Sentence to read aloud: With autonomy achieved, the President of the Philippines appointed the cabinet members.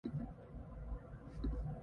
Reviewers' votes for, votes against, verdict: 0, 2, rejected